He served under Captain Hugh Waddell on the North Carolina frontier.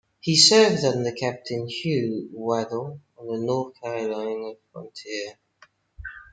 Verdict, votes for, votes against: rejected, 1, 2